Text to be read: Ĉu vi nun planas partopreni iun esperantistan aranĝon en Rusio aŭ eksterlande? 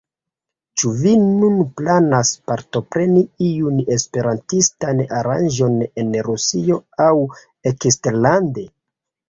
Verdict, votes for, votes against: accepted, 2, 0